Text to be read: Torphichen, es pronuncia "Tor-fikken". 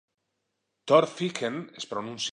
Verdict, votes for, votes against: rejected, 0, 2